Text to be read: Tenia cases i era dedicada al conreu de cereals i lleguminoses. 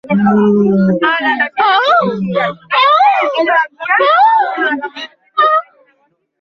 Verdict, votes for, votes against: rejected, 0, 2